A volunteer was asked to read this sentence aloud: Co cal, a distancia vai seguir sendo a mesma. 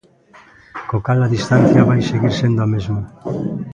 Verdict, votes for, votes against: rejected, 1, 2